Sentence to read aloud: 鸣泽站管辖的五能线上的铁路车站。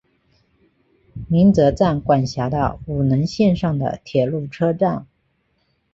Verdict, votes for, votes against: accepted, 4, 1